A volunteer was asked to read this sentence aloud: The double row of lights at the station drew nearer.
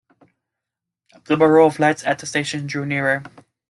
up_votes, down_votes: 1, 2